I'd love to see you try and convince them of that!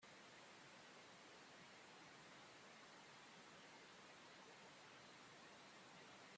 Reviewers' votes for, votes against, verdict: 0, 2, rejected